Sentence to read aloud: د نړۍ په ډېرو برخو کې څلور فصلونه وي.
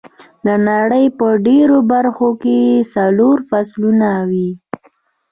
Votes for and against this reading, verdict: 2, 0, accepted